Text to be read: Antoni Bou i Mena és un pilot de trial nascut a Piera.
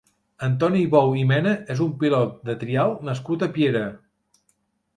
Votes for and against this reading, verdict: 3, 0, accepted